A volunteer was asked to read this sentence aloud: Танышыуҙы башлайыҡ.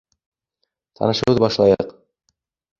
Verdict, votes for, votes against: rejected, 1, 2